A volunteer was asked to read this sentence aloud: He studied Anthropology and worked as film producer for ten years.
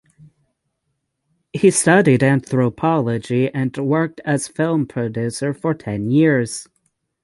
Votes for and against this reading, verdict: 3, 3, rejected